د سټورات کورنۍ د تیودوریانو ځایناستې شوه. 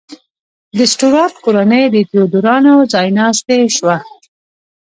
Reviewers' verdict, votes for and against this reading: accepted, 2, 0